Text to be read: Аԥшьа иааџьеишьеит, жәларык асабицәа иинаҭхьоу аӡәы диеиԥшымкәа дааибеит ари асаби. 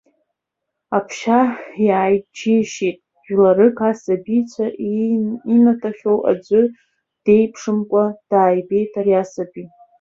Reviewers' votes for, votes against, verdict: 0, 2, rejected